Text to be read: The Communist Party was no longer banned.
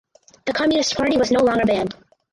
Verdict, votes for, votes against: rejected, 0, 4